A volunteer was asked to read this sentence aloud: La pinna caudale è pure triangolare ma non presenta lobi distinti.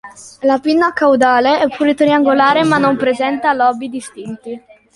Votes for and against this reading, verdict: 2, 0, accepted